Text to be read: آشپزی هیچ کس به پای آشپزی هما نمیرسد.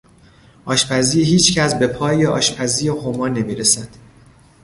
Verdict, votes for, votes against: accepted, 2, 1